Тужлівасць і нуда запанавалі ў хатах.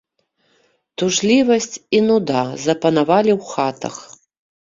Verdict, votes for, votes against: accepted, 2, 0